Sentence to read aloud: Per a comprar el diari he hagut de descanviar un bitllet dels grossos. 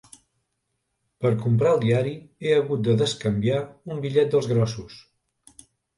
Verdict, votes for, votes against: rejected, 1, 2